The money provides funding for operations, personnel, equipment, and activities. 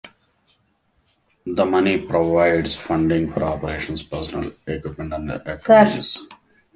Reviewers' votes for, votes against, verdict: 1, 2, rejected